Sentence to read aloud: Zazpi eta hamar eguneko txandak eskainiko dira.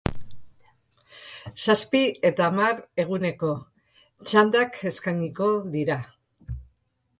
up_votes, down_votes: 2, 0